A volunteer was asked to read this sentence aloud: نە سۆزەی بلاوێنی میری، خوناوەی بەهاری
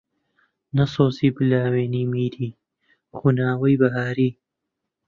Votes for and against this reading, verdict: 0, 2, rejected